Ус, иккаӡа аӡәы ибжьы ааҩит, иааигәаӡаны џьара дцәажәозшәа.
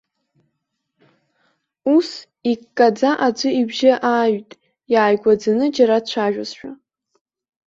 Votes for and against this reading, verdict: 2, 0, accepted